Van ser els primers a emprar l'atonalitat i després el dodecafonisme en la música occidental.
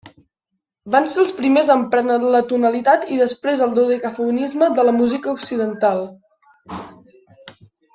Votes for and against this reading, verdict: 2, 0, accepted